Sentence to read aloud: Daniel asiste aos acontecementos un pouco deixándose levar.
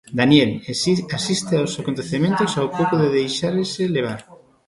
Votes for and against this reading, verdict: 0, 2, rejected